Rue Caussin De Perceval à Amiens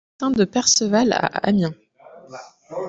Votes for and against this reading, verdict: 0, 2, rejected